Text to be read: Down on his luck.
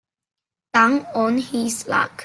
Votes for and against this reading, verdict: 0, 2, rejected